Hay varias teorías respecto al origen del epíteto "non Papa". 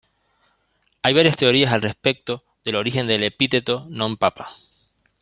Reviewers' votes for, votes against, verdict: 0, 2, rejected